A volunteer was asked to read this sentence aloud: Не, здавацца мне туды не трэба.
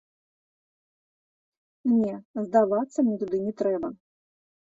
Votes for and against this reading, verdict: 2, 0, accepted